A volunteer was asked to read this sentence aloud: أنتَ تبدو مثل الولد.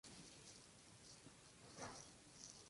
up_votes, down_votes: 0, 3